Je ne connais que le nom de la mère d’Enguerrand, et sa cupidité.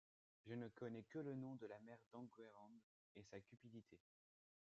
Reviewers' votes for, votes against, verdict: 1, 3, rejected